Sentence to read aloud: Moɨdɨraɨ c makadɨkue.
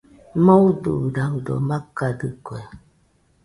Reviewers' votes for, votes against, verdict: 0, 2, rejected